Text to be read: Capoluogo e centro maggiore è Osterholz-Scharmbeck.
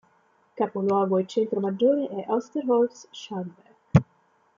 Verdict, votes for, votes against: accepted, 2, 0